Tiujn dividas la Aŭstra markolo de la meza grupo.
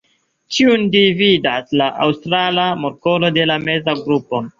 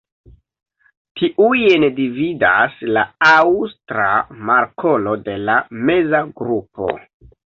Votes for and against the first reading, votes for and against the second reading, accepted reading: 2, 1, 1, 2, first